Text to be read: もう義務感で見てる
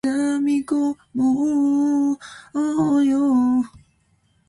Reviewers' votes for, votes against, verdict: 0, 2, rejected